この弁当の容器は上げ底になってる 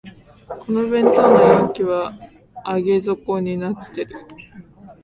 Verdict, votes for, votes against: accepted, 2, 0